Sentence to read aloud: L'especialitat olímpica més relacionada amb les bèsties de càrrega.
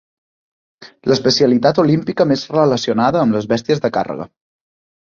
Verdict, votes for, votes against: accepted, 3, 0